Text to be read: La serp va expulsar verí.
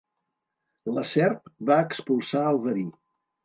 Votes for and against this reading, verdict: 1, 2, rejected